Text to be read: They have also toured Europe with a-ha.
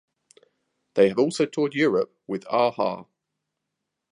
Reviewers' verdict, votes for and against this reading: accepted, 2, 0